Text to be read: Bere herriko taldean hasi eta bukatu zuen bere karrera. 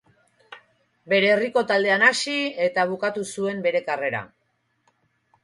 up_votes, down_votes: 2, 2